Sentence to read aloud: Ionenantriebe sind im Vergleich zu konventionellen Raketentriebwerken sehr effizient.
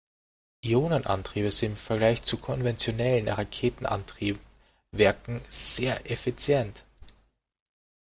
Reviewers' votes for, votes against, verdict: 0, 2, rejected